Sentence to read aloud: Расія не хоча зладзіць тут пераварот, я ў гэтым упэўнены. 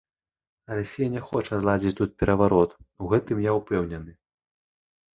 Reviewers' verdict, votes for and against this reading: rejected, 0, 2